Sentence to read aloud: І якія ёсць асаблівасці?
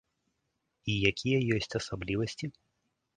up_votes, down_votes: 2, 0